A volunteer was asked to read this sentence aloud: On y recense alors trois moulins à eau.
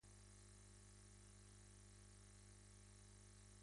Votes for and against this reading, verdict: 0, 2, rejected